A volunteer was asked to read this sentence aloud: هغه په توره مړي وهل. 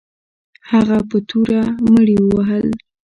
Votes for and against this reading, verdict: 2, 0, accepted